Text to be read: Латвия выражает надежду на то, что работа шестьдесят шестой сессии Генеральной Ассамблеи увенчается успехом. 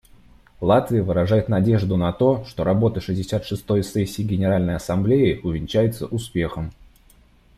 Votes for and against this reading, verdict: 2, 0, accepted